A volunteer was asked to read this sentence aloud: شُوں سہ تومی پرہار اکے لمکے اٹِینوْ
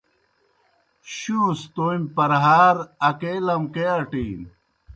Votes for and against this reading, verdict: 2, 0, accepted